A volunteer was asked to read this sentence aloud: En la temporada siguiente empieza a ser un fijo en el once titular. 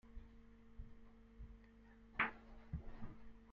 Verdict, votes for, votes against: rejected, 0, 2